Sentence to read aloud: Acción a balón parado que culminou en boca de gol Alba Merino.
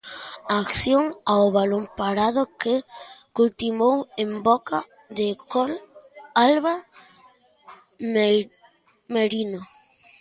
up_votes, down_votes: 0, 2